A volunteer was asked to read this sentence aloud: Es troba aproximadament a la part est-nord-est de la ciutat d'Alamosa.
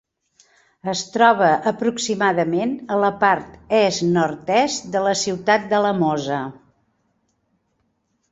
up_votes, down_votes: 2, 0